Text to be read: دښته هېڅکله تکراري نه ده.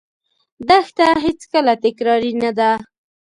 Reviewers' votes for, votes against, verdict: 2, 0, accepted